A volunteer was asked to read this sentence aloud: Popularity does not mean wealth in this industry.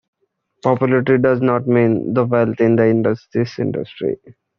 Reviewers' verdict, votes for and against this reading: rejected, 0, 3